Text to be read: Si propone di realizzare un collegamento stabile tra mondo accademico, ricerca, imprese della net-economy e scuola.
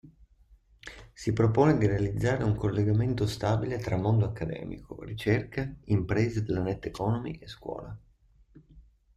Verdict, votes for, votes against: accepted, 2, 0